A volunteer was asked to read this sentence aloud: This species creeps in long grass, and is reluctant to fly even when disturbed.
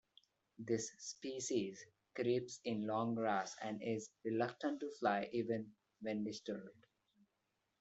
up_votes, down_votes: 2, 0